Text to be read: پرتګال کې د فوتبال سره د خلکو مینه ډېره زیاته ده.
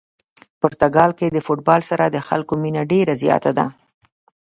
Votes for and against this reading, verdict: 2, 0, accepted